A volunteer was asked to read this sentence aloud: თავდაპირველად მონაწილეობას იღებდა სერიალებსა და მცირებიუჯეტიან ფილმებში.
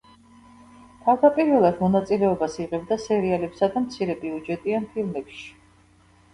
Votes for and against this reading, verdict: 0, 2, rejected